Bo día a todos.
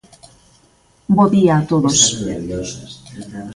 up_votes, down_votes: 1, 2